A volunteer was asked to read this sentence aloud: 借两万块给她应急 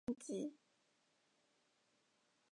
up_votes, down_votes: 0, 2